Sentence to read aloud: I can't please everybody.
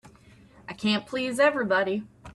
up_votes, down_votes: 3, 0